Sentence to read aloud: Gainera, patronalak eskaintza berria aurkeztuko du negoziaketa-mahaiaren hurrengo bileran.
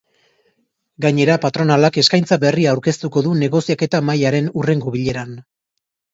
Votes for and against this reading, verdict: 2, 0, accepted